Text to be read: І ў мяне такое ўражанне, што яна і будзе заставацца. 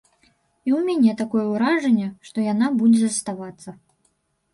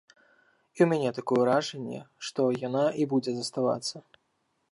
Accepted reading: second